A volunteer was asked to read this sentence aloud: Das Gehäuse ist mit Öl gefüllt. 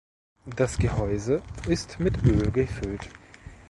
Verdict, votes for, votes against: rejected, 1, 2